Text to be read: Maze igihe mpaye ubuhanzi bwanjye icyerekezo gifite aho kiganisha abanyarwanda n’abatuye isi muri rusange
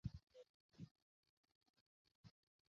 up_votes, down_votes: 0, 2